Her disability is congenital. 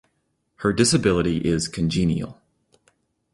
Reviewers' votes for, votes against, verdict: 0, 2, rejected